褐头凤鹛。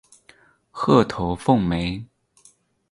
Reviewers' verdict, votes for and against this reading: accepted, 4, 0